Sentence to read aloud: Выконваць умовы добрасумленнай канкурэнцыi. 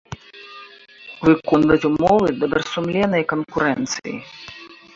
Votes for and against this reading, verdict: 1, 2, rejected